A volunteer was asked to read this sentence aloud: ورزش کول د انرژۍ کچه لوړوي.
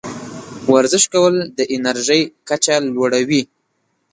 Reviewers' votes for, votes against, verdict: 2, 0, accepted